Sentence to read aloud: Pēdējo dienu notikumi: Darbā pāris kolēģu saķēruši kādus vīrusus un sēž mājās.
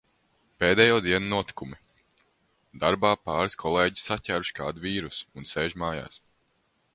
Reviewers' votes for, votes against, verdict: 0, 2, rejected